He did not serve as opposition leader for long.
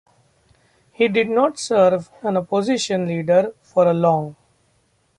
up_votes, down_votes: 2, 0